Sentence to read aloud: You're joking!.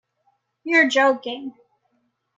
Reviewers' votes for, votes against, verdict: 2, 0, accepted